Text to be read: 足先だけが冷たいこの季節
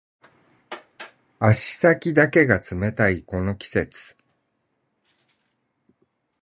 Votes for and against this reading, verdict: 8, 0, accepted